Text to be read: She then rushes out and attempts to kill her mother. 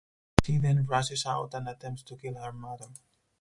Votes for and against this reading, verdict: 2, 2, rejected